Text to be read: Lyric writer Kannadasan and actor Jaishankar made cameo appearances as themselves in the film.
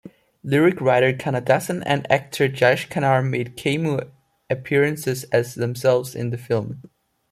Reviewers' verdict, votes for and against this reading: rejected, 0, 2